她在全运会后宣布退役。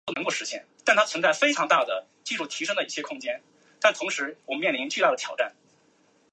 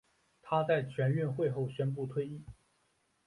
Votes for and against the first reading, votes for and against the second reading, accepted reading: 0, 2, 4, 0, second